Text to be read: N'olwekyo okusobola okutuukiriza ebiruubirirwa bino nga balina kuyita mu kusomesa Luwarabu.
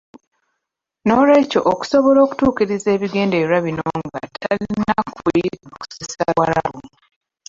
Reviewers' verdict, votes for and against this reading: rejected, 0, 2